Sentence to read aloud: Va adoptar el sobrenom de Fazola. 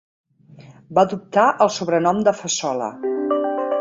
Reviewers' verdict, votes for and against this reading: rejected, 0, 5